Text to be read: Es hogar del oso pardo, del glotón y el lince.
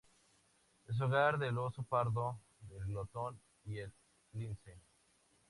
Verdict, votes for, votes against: accepted, 2, 0